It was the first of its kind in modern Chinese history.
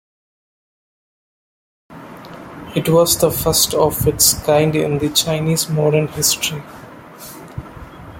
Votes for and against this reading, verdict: 1, 2, rejected